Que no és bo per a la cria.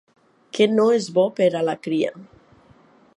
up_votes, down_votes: 3, 0